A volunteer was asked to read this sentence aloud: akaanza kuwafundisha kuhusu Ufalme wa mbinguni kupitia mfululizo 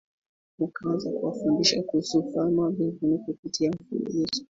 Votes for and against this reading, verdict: 0, 2, rejected